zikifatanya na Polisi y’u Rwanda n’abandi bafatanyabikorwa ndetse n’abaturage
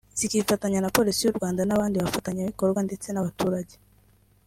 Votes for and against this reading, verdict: 2, 0, accepted